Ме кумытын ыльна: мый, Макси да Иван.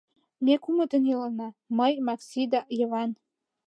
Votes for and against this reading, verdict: 1, 2, rejected